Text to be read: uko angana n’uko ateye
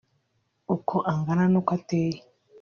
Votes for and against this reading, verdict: 2, 0, accepted